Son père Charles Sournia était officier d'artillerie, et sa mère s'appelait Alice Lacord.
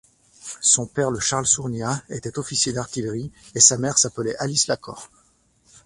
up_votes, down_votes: 0, 2